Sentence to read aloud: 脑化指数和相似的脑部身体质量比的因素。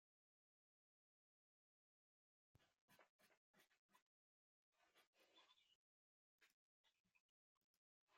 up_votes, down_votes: 0, 2